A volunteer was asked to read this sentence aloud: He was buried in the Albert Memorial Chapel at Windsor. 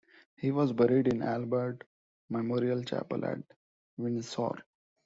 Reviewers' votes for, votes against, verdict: 0, 2, rejected